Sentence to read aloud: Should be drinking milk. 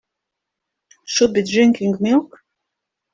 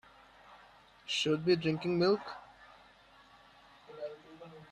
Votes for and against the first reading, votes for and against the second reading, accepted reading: 2, 0, 1, 2, first